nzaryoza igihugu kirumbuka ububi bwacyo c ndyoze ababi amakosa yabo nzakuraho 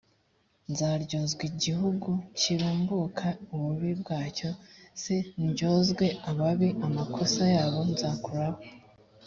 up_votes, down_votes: 1, 2